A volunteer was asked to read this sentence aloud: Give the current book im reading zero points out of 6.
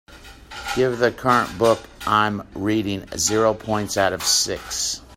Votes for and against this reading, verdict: 0, 2, rejected